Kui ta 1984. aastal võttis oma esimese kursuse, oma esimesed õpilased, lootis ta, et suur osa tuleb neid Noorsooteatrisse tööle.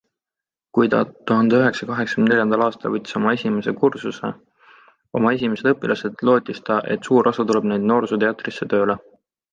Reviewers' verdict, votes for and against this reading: rejected, 0, 2